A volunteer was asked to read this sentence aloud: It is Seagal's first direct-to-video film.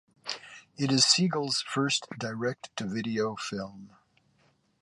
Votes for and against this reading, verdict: 2, 0, accepted